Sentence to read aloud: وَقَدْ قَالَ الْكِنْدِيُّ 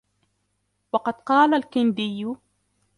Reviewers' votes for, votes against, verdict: 3, 1, accepted